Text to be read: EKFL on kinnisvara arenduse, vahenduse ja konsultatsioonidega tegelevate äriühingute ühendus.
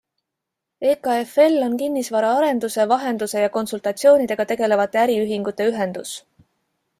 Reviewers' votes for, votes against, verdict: 2, 0, accepted